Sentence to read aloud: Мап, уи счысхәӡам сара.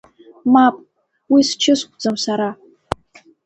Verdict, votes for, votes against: accepted, 2, 0